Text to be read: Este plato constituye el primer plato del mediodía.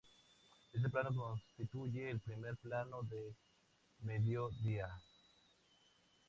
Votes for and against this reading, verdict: 0, 2, rejected